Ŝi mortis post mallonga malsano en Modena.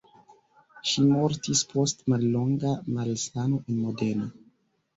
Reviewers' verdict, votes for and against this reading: rejected, 1, 2